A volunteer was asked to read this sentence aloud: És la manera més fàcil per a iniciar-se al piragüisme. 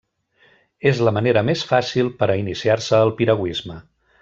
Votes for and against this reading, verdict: 2, 0, accepted